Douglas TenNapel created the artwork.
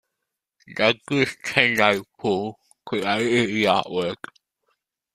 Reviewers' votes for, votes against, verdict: 2, 0, accepted